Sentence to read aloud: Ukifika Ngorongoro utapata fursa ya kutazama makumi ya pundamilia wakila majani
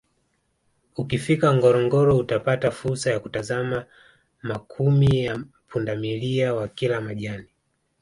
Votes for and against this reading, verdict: 2, 0, accepted